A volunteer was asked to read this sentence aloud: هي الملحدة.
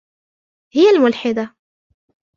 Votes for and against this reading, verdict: 2, 1, accepted